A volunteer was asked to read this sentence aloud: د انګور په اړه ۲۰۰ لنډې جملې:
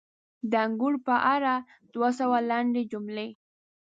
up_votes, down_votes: 0, 2